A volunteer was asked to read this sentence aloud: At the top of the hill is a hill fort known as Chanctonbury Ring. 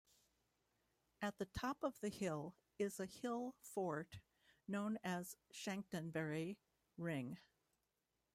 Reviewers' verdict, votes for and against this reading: accepted, 2, 1